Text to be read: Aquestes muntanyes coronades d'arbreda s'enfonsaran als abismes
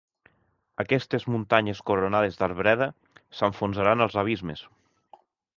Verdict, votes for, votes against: accepted, 2, 0